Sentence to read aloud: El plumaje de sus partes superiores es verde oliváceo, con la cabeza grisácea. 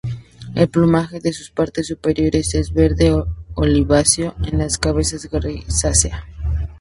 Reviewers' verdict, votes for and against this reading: rejected, 0, 2